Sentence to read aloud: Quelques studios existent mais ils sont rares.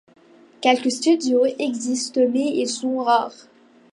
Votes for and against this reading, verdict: 2, 1, accepted